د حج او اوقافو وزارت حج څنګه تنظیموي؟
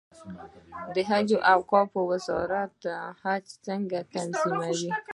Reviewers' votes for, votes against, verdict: 2, 0, accepted